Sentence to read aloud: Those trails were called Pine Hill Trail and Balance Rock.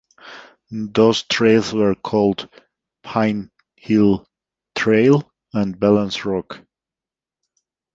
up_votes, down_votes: 2, 1